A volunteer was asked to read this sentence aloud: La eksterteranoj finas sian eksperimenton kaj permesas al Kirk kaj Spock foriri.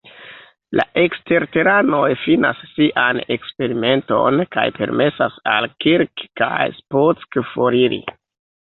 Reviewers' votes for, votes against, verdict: 2, 1, accepted